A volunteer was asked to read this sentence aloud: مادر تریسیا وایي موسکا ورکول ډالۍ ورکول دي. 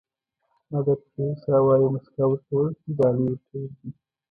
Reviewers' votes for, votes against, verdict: 0, 2, rejected